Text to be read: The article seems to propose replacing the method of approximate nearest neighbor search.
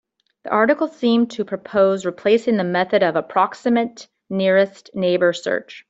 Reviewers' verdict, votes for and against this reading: accepted, 2, 1